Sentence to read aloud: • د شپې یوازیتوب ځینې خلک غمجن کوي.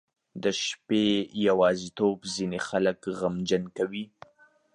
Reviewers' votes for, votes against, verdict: 2, 0, accepted